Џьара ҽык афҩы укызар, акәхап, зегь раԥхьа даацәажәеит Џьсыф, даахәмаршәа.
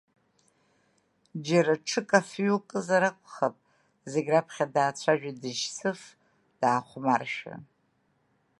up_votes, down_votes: 2, 0